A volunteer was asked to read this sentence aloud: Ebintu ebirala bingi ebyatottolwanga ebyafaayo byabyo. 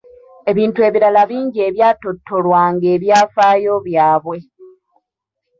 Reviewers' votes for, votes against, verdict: 1, 2, rejected